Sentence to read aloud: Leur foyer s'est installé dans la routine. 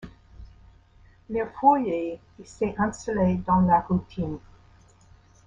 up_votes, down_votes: 2, 1